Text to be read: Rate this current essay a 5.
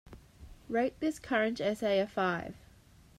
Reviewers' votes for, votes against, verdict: 0, 2, rejected